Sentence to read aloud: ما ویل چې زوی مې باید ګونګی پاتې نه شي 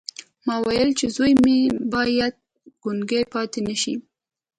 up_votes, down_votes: 3, 0